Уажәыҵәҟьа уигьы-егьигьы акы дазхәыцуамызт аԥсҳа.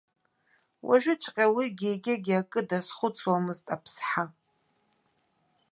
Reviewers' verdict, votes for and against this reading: accepted, 2, 0